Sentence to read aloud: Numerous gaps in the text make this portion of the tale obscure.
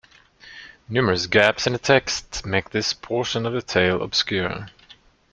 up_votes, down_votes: 1, 2